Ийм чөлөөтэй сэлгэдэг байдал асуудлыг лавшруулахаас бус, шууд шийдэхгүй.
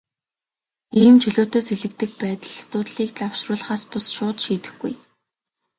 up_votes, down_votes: 3, 0